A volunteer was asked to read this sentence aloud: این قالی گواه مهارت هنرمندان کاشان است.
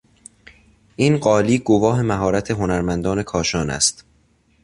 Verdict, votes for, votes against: accepted, 2, 0